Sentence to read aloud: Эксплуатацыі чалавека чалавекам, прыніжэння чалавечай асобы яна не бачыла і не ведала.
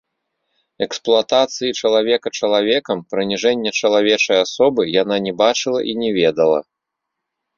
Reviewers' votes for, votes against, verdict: 2, 0, accepted